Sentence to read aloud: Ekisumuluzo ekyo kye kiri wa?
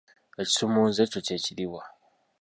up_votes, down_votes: 1, 2